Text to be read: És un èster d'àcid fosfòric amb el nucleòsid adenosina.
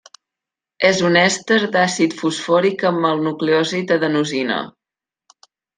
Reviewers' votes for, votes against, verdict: 2, 0, accepted